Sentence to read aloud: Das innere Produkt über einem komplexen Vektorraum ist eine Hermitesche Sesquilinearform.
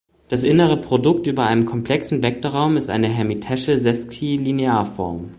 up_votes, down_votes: 0, 2